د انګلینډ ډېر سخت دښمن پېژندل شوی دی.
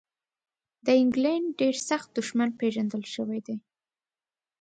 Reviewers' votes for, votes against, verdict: 2, 0, accepted